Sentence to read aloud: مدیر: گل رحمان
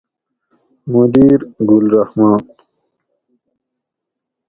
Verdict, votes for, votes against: accepted, 4, 0